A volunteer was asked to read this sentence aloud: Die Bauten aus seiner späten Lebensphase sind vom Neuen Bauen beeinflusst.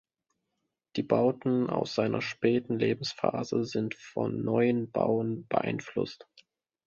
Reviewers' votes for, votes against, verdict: 0, 2, rejected